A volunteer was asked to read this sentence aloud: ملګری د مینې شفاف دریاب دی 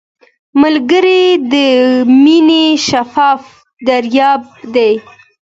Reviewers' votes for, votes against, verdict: 2, 0, accepted